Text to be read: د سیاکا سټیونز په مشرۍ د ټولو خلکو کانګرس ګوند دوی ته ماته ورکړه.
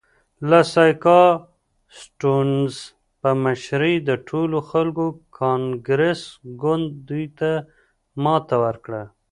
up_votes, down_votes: 2, 0